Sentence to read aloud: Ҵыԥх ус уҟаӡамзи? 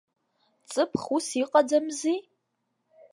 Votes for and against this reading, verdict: 0, 2, rejected